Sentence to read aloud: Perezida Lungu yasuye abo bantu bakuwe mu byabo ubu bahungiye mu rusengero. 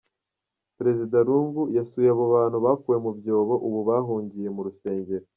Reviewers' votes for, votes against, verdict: 1, 2, rejected